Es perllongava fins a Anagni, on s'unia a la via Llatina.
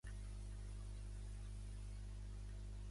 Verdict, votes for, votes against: rejected, 0, 2